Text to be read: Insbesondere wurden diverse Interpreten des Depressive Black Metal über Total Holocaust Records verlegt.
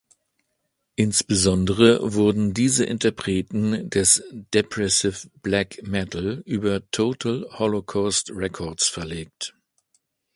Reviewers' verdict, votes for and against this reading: rejected, 0, 2